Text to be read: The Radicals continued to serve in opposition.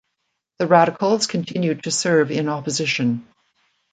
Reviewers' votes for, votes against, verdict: 2, 0, accepted